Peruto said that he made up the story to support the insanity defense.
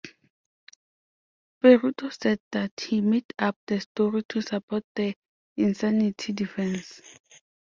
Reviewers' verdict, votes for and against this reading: accepted, 2, 0